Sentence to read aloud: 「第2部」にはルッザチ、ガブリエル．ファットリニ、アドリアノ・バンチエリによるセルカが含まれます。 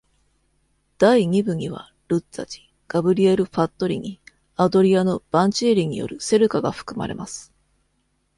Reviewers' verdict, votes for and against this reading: rejected, 0, 2